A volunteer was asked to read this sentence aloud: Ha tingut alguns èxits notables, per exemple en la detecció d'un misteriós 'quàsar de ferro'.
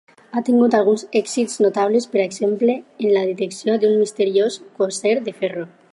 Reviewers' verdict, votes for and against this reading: rejected, 2, 4